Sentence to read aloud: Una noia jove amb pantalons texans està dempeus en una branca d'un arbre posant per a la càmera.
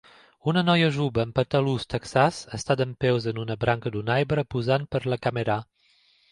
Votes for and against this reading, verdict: 1, 2, rejected